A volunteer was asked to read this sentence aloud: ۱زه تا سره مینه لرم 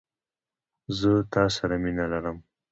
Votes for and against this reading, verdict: 0, 2, rejected